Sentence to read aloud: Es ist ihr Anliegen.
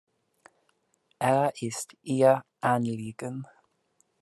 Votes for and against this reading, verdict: 0, 2, rejected